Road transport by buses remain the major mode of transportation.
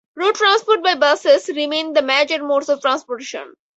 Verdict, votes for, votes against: rejected, 0, 4